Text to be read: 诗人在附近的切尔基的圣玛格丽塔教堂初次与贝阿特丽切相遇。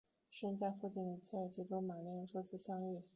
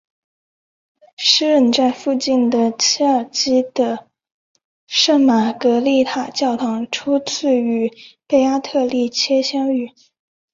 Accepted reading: second